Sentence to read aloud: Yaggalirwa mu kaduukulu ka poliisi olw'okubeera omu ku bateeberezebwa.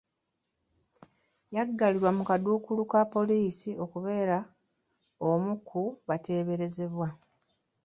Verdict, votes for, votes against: rejected, 1, 2